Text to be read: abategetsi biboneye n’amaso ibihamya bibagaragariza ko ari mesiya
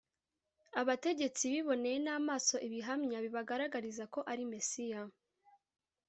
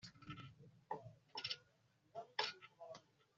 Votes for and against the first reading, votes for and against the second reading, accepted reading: 2, 0, 0, 2, first